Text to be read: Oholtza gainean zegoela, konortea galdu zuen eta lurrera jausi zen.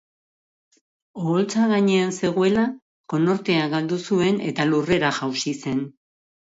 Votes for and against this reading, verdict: 2, 0, accepted